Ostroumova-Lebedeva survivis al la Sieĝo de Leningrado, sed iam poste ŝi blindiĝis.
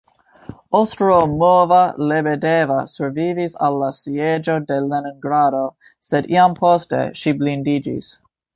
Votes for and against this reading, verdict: 1, 2, rejected